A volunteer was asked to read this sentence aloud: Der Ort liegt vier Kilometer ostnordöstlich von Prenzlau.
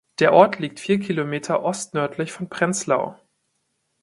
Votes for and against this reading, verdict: 0, 2, rejected